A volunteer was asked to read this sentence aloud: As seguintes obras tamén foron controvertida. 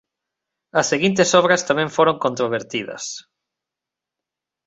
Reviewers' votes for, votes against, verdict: 0, 2, rejected